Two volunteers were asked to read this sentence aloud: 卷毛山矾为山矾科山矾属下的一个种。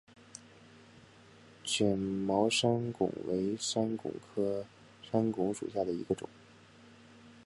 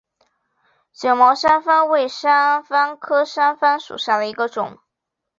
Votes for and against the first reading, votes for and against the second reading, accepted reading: 0, 2, 4, 1, second